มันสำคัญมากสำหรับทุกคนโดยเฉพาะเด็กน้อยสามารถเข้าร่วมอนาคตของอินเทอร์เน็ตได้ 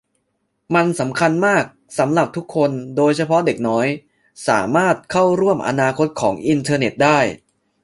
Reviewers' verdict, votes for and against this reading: accepted, 2, 0